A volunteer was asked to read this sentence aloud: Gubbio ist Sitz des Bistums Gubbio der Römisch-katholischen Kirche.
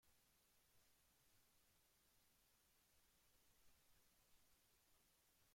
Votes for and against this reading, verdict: 0, 2, rejected